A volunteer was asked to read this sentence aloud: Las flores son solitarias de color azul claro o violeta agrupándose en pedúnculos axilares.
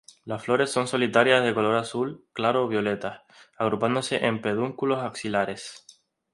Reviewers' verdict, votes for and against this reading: accepted, 2, 0